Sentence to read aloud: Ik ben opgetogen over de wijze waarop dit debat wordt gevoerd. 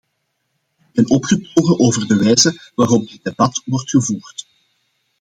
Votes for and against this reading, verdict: 2, 0, accepted